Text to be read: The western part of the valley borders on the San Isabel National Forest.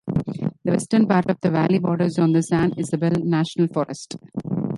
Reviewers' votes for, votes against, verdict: 0, 2, rejected